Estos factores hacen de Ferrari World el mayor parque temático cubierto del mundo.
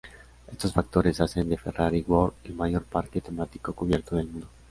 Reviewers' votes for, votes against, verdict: 2, 0, accepted